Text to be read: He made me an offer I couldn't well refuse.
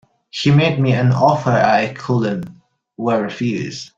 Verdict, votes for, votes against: rejected, 0, 2